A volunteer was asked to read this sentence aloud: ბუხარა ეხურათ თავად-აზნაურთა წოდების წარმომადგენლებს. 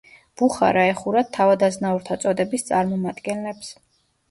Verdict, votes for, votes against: accepted, 2, 0